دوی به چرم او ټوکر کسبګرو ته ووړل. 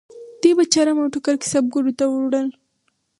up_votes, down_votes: 0, 2